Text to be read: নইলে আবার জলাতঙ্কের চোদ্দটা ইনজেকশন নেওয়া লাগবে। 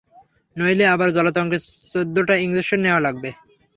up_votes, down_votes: 3, 0